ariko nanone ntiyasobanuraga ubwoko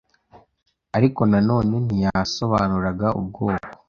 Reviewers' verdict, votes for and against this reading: accepted, 2, 0